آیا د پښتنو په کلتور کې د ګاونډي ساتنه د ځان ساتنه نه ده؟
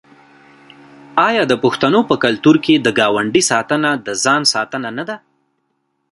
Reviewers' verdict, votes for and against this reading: accepted, 2, 1